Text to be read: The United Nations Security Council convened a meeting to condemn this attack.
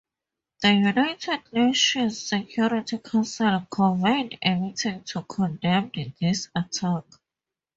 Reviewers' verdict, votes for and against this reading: accepted, 2, 0